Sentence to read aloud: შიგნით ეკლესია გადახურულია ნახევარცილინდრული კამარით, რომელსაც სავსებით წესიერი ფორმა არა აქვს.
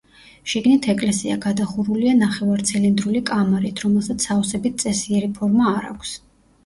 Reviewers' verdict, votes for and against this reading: rejected, 0, 2